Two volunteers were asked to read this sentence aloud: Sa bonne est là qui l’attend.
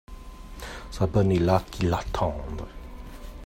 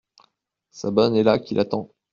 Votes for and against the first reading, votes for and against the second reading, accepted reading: 1, 2, 2, 0, second